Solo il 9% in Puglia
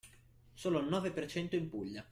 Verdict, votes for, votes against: rejected, 0, 2